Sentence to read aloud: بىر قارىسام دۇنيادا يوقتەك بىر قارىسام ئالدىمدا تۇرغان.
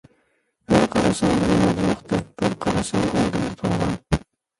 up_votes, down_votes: 0, 2